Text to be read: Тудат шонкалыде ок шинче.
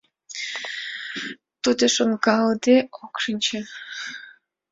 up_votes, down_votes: 2, 0